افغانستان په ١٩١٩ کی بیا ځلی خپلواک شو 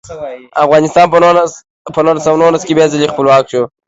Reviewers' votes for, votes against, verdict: 0, 2, rejected